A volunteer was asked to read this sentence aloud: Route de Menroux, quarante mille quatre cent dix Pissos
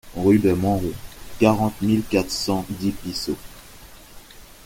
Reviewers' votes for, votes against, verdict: 0, 2, rejected